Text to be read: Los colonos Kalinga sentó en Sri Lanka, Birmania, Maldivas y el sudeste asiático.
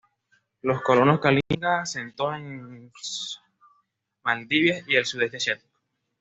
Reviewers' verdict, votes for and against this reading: rejected, 1, 2